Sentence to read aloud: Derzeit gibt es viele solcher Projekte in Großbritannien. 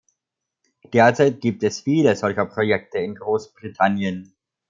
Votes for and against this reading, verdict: 2, 0, accepted